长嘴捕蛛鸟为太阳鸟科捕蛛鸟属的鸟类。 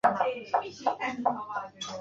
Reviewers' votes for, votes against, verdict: 0, 3, rejected